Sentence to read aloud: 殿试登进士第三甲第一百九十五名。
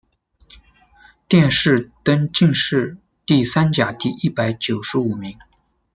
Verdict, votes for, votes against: rejected, 0, 2